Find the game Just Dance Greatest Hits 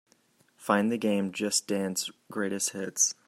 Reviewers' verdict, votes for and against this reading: accepted, 2, 0